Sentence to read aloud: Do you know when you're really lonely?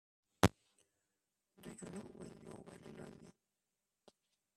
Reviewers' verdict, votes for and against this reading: rejected, 0, 3